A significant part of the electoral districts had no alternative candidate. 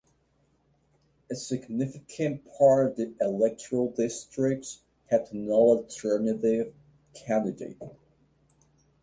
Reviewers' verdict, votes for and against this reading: accepted, 2, 0